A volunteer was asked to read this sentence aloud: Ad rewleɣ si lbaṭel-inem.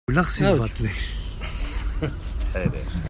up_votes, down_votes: 0, 2